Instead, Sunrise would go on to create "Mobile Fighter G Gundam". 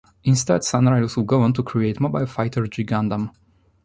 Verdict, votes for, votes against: accepted, 2, 0